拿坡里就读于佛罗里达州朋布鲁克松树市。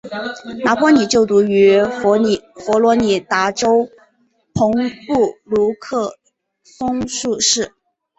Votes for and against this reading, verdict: 0, 2, rejected